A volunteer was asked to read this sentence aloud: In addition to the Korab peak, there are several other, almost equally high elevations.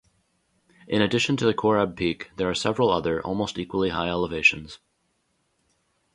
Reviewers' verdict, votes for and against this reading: accepted, 2, 0